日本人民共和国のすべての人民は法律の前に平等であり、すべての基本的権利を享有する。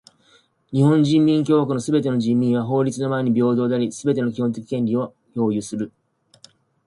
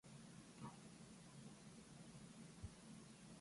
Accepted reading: first